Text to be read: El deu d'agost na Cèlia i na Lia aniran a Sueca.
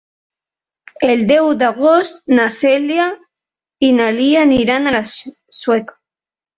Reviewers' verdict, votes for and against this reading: rejected, 1, 2